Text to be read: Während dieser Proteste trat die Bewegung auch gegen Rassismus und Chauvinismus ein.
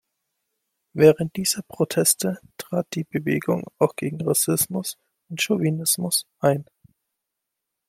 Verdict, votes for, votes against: accepted, 2, 0